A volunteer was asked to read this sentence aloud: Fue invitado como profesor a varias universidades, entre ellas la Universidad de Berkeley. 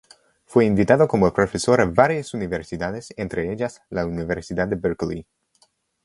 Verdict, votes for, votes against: accepted, 2, 0